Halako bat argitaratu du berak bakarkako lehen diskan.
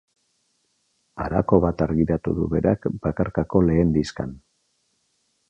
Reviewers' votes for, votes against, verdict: 2, 0, accepted